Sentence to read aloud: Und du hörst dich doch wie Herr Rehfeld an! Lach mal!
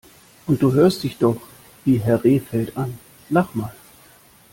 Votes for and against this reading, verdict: 2, 0, accepted